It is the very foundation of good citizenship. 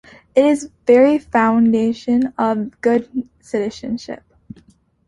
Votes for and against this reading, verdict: 2, 0, accepted